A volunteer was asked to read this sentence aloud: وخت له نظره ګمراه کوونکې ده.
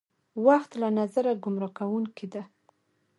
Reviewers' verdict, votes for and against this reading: accepted, 2, 0